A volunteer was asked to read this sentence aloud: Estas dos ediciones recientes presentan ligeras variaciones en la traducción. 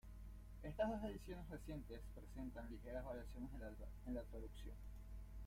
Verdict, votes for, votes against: rejected, 0, 2